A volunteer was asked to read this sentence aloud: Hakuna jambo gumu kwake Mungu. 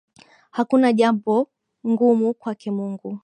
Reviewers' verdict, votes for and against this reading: rejected, 0, 2